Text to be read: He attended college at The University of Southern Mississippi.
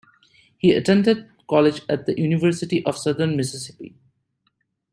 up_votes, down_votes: 2, 0